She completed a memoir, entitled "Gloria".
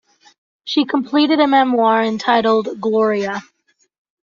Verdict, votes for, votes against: accepted, 2, 0